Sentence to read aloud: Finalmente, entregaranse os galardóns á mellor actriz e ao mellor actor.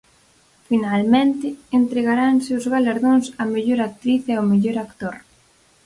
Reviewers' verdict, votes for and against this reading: accepted, 4, 0